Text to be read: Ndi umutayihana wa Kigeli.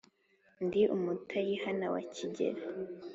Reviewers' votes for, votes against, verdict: 3, 0, accepted